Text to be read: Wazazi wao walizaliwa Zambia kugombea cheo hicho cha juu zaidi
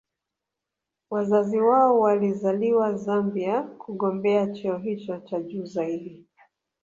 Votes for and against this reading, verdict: 1, 2, rejected